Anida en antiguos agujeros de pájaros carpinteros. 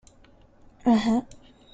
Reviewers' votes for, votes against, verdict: 0, 2, rejected